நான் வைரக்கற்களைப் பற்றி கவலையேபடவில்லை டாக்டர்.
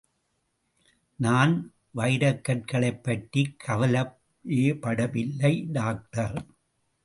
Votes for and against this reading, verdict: 1, 2, rejected